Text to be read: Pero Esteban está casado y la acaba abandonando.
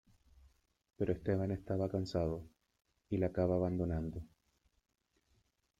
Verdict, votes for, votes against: rejected, 0, 2